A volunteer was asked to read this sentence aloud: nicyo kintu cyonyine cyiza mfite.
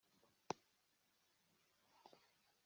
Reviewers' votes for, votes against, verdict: 1, 2, rejected